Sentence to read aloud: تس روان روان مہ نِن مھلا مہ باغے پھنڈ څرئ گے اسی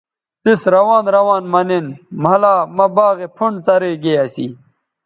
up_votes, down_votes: 0, 2